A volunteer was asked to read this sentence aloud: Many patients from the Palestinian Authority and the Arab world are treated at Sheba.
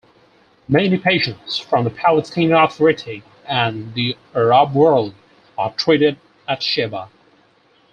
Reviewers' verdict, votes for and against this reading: rejected, 4, 6